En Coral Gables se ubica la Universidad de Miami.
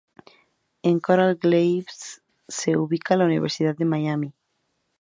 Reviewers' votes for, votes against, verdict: 0, 2, rejected